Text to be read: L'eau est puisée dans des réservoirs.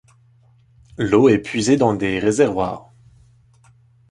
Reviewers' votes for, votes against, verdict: 2, 0, accepted